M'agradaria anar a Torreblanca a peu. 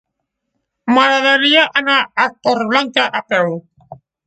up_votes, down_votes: 1, 2